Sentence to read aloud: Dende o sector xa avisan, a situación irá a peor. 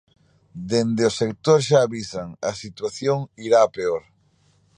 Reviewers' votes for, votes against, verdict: 2, 0, accepted